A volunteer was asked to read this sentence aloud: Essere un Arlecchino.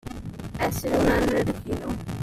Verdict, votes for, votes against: rejected, 0, 2